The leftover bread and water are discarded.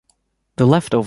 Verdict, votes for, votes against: rejected, 0, 2